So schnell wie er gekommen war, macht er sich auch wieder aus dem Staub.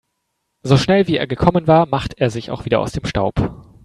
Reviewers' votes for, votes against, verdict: 2, 1, accepted